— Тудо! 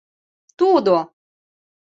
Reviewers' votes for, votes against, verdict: 2, 0, accepted